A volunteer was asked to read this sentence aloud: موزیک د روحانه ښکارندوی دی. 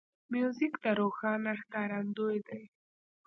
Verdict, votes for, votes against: rejected, 1, 2